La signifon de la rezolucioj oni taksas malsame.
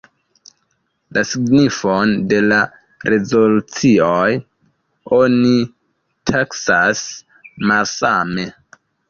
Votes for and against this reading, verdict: 1, 2, rejected